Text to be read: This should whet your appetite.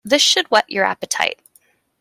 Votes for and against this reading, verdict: 2, 0, accepted